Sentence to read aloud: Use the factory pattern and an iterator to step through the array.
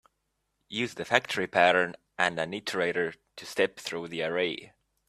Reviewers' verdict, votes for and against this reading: accepted, 2, 1